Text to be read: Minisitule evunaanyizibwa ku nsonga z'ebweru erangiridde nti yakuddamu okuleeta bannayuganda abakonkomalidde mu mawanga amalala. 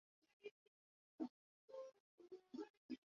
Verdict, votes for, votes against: rejected, 0, 2